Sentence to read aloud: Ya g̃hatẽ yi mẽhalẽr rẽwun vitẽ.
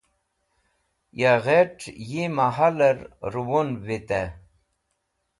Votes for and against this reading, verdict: 1, 2, rejected